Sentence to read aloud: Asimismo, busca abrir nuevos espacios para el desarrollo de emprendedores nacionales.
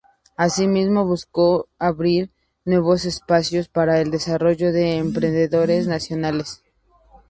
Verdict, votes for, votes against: rejected, 0, 2